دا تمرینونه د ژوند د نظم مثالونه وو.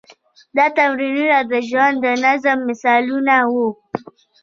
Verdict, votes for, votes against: rejected, 1, 2